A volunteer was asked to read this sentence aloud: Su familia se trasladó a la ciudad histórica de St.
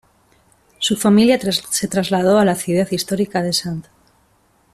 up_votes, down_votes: 1, 2